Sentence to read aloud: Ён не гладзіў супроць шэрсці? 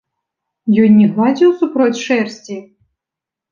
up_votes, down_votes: 2, 0